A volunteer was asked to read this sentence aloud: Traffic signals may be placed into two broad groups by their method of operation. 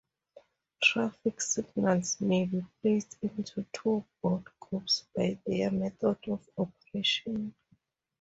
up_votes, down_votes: 2, 2